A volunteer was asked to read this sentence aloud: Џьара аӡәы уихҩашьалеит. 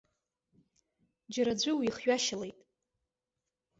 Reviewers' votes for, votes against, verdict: 2, 1, accepted